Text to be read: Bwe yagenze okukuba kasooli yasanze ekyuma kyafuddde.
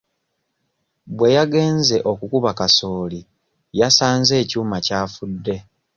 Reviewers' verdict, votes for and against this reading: accepted, 2, 0